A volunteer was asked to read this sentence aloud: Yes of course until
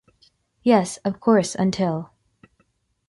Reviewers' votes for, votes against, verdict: 2, 0, accepted